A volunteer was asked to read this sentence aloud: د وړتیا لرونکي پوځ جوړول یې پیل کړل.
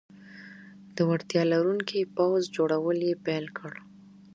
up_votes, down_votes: 2, 0